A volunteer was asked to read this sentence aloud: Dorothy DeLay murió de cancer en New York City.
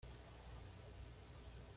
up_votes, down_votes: 1, 2